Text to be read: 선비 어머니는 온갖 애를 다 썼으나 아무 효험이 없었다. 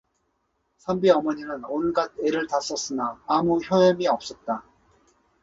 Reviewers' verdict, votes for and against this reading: accepted, 2, 0